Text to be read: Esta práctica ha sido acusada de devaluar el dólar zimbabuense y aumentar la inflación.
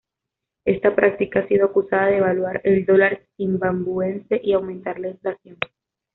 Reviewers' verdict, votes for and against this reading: rejected, 1, 2